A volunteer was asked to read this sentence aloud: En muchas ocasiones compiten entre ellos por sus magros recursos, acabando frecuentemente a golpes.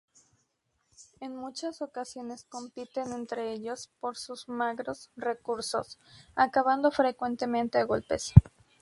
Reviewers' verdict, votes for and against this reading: rejected, 2, 2